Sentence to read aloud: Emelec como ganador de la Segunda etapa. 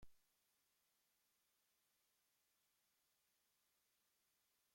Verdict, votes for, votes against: rejected, 0, 2